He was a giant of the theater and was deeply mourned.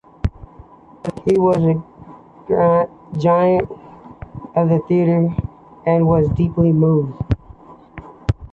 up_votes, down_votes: 2, 0